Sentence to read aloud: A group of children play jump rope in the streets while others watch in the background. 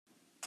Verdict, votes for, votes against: rejected, 0, 3